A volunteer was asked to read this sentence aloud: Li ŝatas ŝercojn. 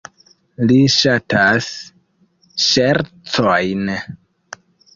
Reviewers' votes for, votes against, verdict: 0, 2, rejected